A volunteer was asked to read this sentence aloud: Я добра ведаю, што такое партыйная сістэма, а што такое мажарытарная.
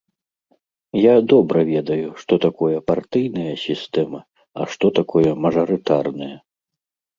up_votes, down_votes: 2, 0